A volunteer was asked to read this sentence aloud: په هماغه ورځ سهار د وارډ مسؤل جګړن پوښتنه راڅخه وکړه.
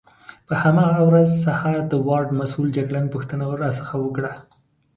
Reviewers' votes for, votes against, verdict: 2, 0, accepted